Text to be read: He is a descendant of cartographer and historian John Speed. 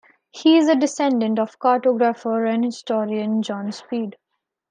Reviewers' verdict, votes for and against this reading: accepted, 2, 0